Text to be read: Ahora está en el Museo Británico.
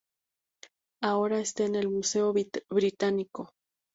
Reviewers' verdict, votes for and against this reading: rejected, 2, 2